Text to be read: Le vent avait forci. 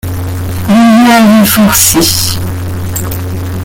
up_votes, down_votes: 0, 2